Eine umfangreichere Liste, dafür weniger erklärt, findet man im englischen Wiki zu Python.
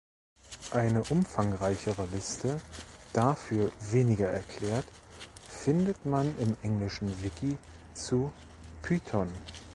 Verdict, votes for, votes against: rejected, 1, 2